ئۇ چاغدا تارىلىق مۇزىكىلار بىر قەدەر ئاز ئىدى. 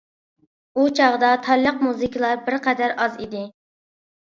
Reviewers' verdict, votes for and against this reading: accepted, 2, 0